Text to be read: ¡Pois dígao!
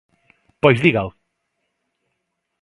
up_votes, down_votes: 2, 0